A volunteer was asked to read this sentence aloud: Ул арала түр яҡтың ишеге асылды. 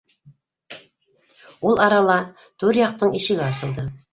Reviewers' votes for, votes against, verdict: 0, 2, rejected